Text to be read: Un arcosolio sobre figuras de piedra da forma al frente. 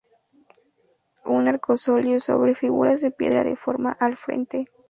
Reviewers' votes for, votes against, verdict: 2, 0, accepted